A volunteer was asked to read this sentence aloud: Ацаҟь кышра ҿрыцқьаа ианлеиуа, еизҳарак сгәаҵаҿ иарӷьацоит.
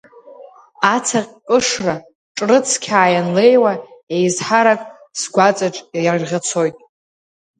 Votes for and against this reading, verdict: 1, 2, rejected